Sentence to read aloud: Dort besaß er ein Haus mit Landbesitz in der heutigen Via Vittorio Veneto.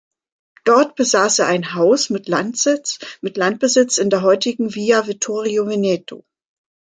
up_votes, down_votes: 0, 2